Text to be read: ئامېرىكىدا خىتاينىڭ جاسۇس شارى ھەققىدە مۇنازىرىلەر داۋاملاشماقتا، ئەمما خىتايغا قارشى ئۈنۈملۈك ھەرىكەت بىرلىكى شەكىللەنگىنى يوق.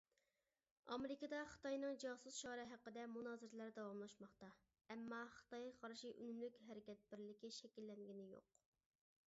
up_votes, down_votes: 1, 2